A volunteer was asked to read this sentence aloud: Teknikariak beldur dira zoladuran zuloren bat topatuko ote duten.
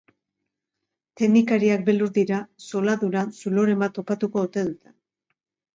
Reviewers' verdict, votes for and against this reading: rejected, 0, 2